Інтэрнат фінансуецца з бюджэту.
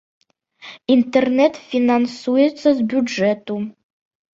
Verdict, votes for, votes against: rejected, 1, 2